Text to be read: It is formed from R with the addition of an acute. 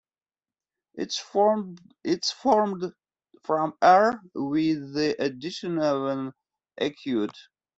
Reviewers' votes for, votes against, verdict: 0, 2, rejected